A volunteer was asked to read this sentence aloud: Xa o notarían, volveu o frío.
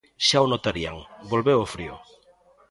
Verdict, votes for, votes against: accepted, 2, 0